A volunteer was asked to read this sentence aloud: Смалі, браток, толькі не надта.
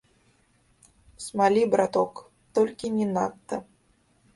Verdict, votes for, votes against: rejected, 1, 2